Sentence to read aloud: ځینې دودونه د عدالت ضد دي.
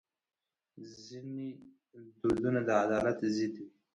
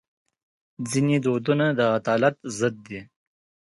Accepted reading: second